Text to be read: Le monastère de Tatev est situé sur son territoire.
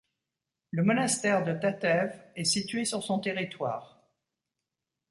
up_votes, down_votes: 2, 0